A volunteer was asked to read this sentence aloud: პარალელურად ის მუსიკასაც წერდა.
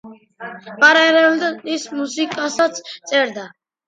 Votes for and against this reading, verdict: 1, 2, rejected